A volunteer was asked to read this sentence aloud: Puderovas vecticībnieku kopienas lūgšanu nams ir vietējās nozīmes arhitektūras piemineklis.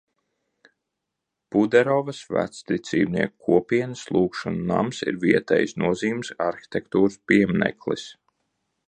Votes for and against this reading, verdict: 0, 2, rejected